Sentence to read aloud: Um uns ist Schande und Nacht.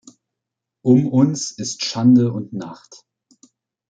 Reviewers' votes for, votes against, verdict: 2, 0, accepted